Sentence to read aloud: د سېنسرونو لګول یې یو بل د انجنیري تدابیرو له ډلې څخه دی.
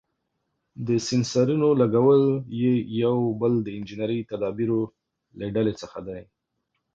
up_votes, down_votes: 2, 0